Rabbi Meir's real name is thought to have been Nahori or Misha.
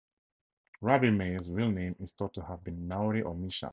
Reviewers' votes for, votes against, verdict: 2, 0, accepted